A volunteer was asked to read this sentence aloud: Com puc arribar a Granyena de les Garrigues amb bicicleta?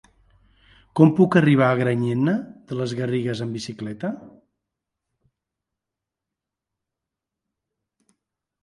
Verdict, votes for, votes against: accepted, 4, 0